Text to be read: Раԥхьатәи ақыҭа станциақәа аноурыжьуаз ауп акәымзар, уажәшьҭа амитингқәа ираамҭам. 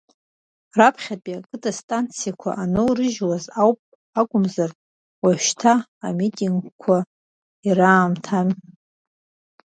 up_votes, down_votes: 1, 2